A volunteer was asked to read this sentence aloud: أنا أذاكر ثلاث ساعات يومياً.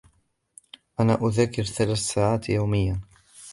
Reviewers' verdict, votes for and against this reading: accepted, 2, 0